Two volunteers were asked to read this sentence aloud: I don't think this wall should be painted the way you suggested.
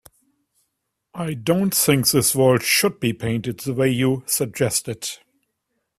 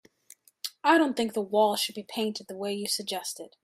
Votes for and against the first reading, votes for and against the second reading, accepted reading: 2, 0, 0, 2, first